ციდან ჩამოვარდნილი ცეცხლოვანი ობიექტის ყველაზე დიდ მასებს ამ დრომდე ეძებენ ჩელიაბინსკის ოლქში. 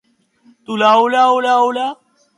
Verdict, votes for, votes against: rejected, 0, 2